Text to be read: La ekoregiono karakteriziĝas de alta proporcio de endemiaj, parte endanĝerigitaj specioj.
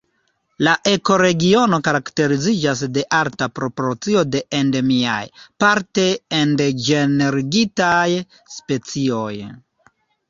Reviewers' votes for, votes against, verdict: 2, 1, accepted